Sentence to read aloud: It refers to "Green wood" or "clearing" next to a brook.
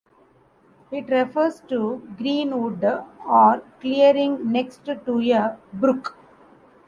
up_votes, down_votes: 2, 1